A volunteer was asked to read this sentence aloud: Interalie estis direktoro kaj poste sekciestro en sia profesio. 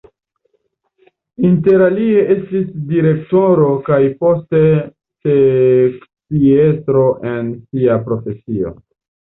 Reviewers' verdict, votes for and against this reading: rejected, 1, 2